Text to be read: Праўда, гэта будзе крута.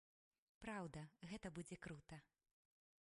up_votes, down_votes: 1, 2